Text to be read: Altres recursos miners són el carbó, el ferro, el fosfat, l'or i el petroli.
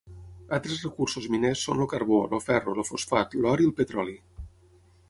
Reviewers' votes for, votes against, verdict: 3, 6, rejected